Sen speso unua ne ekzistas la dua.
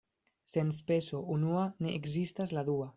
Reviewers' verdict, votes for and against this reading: accepted, 2, 0